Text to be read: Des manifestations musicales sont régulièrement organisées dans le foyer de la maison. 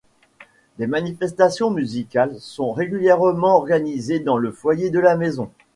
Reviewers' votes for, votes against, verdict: 2, 1, accepted